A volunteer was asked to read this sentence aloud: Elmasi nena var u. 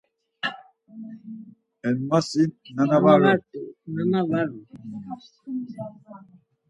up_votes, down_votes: 0, 4